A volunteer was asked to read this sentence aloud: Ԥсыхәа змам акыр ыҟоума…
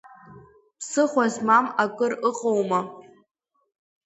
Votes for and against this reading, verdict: 2, 0, accepted